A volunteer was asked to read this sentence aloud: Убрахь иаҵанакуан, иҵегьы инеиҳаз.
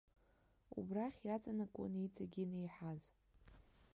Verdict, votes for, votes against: rejected, 0, 2